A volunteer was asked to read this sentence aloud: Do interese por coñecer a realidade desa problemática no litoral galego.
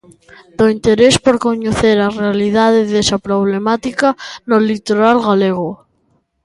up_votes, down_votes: 0, 2